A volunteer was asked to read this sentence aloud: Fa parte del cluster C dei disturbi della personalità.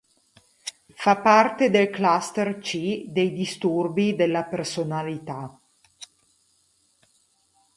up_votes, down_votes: 4, 0